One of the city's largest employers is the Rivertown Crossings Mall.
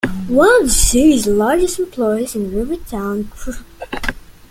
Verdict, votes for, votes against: rejected, 0, 2